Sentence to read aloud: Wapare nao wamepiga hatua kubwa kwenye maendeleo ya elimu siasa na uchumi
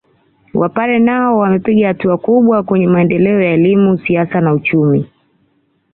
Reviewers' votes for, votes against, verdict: 2, 1, accepted